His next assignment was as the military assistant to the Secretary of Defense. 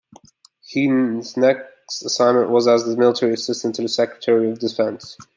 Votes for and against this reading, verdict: 1, 2, rejected